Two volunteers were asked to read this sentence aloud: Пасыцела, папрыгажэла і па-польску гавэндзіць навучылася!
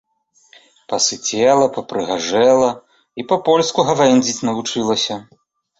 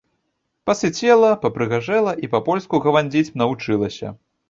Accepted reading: first